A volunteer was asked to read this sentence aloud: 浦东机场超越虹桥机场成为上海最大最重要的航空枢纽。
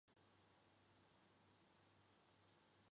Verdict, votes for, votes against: rejected, 0, 4